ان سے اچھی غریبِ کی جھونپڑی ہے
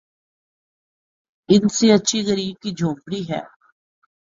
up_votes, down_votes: 4, 0